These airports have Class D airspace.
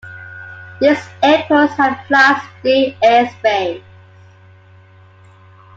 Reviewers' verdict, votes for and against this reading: accepted, 2, 1